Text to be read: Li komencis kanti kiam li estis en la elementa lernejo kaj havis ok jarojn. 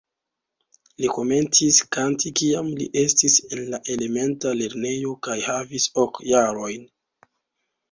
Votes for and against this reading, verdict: 2, 1, accepted